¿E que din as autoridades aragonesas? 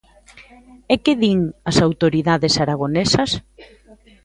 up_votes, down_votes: 3, 0